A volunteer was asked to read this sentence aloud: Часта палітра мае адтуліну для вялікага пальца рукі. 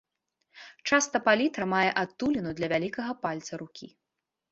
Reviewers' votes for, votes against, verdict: 2, 0, accepted